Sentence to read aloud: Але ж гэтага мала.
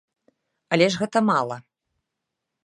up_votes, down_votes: 0, 2